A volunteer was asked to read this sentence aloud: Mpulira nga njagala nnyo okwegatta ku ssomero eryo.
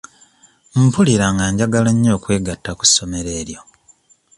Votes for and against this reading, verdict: 2, 0, accepted